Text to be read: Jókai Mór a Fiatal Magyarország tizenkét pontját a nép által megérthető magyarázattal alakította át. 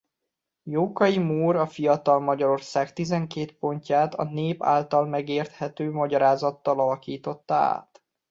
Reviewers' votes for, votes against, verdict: 2, 0, accepted